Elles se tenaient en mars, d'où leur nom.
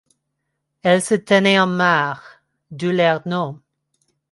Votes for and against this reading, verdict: 1, 2, rejected